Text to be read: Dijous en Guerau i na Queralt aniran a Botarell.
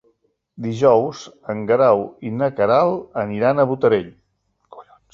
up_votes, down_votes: 2, 3